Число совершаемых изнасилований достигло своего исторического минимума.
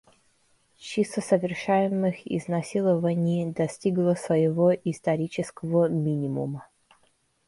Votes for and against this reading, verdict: 0, 2, rejected